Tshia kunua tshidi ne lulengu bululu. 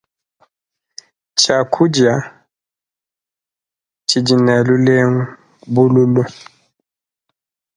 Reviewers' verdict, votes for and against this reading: rejected, 0, 2